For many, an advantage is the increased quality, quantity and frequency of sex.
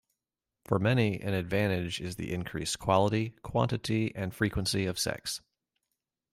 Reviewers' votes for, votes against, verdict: 2, 0, accepted